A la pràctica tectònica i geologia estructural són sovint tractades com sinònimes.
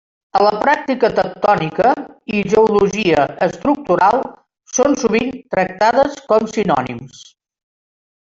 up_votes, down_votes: 0, 2